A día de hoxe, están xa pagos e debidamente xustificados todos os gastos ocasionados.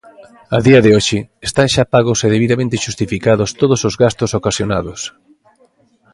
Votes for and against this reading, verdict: 2, 0, accepted